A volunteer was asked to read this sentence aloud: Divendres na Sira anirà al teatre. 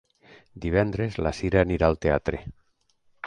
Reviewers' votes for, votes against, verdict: 0, 2, rejected